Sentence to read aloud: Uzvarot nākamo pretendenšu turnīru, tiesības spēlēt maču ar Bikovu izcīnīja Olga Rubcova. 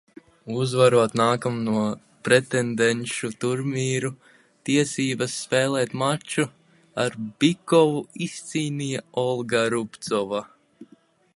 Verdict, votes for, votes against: rejected, 0, 2